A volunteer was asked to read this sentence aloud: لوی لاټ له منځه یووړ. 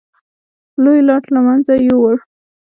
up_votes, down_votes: 2, 1